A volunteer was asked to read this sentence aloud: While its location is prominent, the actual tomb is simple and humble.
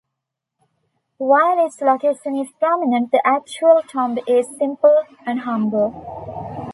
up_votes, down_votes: 1, 2